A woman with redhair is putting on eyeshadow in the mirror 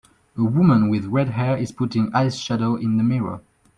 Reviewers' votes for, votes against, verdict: 2, 3, rejected